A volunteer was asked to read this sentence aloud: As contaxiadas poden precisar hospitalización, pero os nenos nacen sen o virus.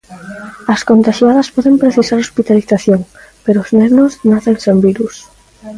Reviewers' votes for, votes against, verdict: 0, 2, rejected